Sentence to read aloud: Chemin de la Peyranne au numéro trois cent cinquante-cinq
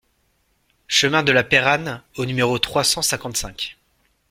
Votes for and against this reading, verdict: 2, 0, accepted